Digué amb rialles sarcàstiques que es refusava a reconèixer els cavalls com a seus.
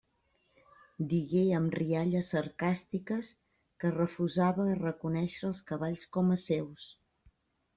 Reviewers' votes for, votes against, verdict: 2, 0, accepted